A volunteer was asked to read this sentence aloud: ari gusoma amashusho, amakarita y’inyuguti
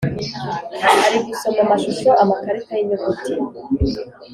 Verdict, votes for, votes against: accepted, 3, 0